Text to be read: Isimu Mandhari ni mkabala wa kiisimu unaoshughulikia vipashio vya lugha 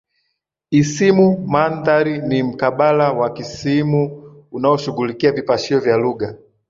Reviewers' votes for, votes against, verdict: 2, 4, rejected